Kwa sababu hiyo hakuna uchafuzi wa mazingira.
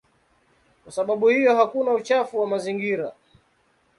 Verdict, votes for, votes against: rejected, 1, 2